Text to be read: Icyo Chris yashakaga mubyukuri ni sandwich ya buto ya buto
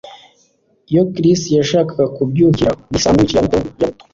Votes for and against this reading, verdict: 2, 0, accepted